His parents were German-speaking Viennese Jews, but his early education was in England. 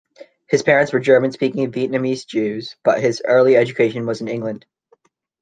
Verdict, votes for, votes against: accepted, 2, 1